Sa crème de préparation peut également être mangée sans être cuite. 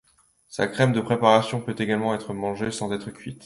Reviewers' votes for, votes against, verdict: 2, 0, accepted